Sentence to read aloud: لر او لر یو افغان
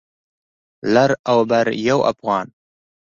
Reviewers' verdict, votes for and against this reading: accepted, 2, 0